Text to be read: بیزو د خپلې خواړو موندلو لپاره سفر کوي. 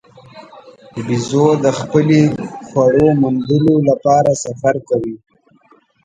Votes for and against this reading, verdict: 1, 2, rejected